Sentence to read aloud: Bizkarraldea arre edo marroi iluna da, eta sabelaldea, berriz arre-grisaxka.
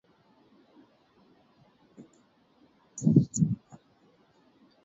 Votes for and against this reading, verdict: 0, 4, rejected